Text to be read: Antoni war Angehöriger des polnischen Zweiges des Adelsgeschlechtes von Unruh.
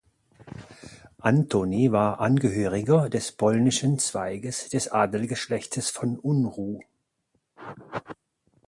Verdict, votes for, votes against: accepted, 4, 0